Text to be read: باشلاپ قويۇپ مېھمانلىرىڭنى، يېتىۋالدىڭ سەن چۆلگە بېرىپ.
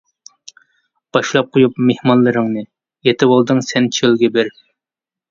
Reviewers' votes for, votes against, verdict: 2, 0, accepted